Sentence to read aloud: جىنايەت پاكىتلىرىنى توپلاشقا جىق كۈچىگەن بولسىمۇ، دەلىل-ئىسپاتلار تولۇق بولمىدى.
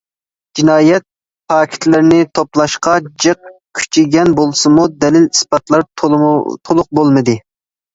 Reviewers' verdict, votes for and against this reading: rejected, 0, 2